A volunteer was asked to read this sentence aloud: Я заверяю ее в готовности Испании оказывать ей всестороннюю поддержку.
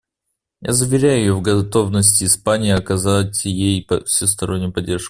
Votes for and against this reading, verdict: 1, 2, rejected